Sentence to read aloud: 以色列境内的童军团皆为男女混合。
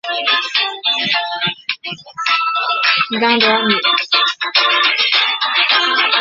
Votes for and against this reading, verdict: 0, 2, rejected